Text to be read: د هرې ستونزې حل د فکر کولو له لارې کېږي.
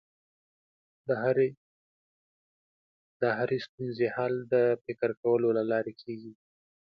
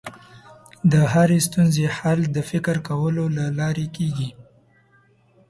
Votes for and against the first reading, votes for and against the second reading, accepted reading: 1, 2, 2, 0, second